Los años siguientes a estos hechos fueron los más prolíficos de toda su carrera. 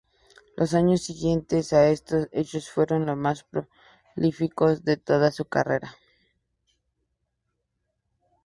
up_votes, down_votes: 2, 0